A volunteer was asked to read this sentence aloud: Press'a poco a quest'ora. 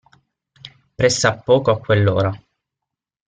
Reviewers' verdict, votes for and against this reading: rejected, 0, 6